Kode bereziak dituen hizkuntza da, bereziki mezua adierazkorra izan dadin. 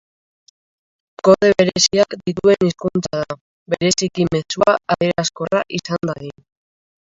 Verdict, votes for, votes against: rejected, 1, 2